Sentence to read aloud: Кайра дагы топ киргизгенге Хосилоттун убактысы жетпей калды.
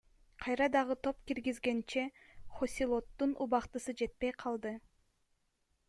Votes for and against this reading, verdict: 1, 2, rejected